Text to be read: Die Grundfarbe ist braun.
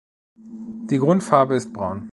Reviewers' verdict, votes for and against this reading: rejected, 1, 2